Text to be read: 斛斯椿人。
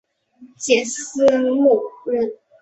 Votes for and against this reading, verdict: 2, 3, rejected